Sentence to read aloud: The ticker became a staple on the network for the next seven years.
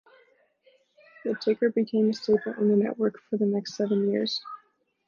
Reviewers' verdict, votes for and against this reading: rejected, 0, 2